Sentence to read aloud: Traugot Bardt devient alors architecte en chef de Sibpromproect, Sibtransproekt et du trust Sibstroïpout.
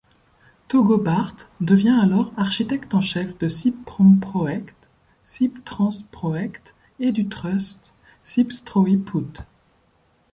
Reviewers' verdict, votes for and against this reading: rejected, 1, 2